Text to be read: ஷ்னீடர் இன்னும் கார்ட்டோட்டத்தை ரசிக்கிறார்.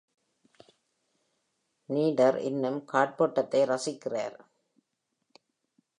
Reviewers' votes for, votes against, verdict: 1, 2, rejected